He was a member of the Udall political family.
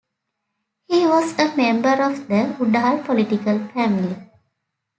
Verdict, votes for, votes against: accepted, 2, 0